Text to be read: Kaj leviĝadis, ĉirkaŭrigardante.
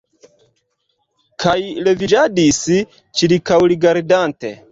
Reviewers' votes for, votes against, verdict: 2, 1, accepted